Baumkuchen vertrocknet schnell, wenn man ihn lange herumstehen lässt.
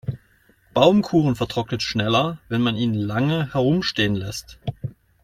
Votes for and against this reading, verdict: 0, 2, rejected